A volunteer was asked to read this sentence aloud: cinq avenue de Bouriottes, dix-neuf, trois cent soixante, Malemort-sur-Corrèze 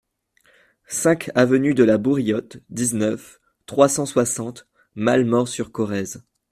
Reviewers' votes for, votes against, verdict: 1, 2, rejected